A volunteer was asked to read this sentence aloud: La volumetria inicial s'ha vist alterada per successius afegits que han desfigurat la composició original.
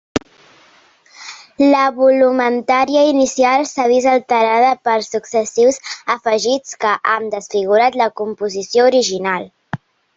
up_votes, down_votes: 1, 2